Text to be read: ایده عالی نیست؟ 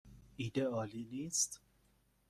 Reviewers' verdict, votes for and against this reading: accepted, 2, 0